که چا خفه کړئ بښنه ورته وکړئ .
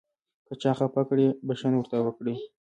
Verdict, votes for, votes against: accepted, 2, 0